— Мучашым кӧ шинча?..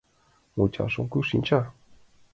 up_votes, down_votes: 2, 1